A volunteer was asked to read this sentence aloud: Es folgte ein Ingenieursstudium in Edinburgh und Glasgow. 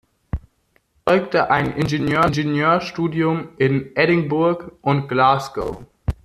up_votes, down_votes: 0, 2